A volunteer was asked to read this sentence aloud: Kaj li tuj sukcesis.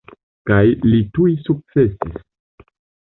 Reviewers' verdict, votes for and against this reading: rejected, 1, 2